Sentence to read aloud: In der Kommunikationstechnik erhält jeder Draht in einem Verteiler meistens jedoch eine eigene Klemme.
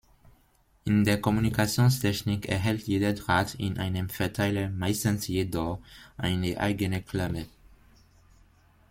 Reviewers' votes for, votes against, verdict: 2, 0, accepted